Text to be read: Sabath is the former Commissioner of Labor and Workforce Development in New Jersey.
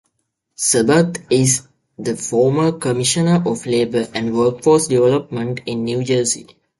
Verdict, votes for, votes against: accepted, 2, 0